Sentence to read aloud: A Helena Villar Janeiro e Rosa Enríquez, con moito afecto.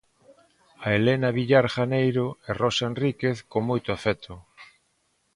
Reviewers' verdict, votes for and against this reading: accepted, 2, 0